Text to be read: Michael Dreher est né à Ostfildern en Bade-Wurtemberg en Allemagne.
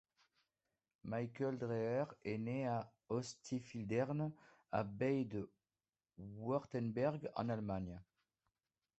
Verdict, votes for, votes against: rejected, 0, 2